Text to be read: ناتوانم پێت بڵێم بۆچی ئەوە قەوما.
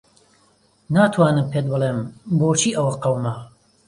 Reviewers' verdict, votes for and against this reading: accepted, 2, 0